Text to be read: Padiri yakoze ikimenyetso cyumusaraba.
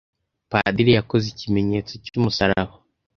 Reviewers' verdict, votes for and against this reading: accepted, 2, 0